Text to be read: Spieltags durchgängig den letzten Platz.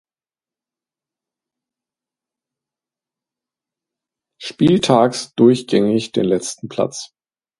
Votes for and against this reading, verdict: 2, 0, accepted